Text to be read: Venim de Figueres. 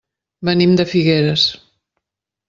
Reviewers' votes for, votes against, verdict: 3, 0, accepted